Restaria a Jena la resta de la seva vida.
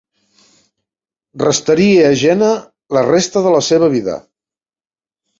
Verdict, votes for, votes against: accepted, 2, 0